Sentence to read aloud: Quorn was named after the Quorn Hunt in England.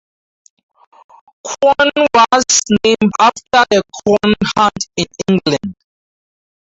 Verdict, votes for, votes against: accepted, 4, 0